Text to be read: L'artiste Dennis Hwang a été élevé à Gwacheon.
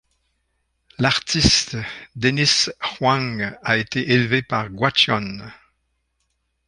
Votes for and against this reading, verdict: 1, 2, rejected